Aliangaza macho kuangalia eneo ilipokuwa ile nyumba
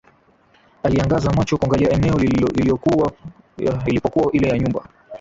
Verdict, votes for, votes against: rejected, 0, 2